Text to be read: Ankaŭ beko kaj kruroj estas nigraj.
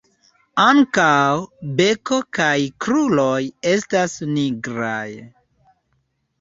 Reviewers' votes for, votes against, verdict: 2, 1, accepted